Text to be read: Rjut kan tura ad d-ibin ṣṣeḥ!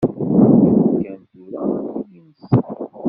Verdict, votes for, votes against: rejected, 1, 2